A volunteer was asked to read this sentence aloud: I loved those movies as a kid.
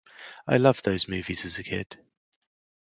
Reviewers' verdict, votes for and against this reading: rejected, 0, 2